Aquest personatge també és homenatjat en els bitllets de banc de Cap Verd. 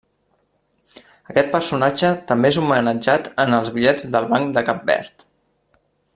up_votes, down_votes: 2, 0